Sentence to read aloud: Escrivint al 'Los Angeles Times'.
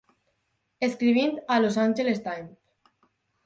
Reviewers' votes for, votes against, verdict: 0, 4, rejected